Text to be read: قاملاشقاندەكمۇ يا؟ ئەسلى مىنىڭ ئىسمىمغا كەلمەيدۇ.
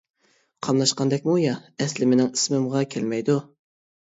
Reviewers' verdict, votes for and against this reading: accepted, 2, 0